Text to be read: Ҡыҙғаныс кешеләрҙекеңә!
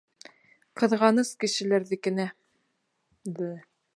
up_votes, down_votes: 1, 2